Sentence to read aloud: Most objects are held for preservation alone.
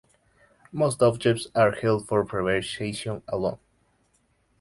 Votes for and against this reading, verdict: 0, 2, rejected